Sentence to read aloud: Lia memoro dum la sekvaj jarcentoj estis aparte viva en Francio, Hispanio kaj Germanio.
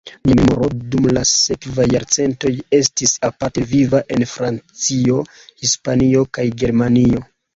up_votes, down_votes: 1, 2